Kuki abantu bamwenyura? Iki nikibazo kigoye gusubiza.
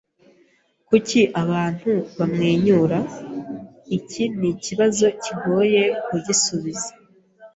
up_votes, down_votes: 2, 3